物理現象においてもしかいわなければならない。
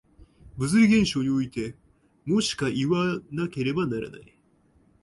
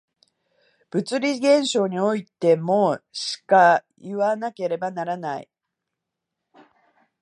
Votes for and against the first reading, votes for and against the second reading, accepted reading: 0, 2, 2, 0, second